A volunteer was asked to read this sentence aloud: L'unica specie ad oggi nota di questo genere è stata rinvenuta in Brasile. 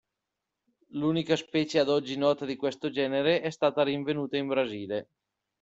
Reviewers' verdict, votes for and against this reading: accepted, 2, 0